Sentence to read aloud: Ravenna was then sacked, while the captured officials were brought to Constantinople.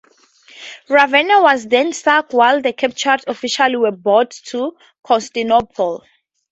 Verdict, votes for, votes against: rejected, 0, 4